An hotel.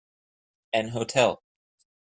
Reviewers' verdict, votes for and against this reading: rejected, 1, 2